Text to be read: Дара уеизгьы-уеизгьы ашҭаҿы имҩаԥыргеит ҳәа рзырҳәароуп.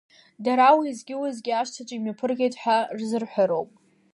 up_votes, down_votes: 2, 0